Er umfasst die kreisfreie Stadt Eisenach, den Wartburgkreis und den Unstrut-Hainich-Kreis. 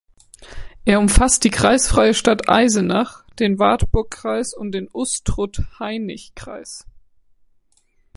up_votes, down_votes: 1, 2